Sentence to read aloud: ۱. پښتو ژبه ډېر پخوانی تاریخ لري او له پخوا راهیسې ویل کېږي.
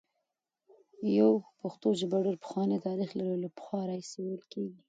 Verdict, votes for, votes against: rejected, 0, 2